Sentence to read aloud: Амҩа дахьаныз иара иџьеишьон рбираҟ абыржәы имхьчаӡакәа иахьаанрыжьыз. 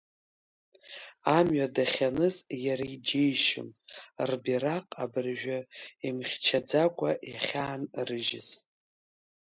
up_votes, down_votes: 2, 0